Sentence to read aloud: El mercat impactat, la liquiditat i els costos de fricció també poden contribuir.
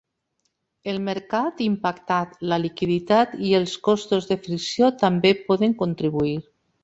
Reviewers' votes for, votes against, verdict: 3, 0, accepted